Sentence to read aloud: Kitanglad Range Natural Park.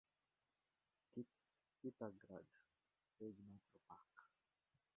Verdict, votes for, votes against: rejected, 0, 2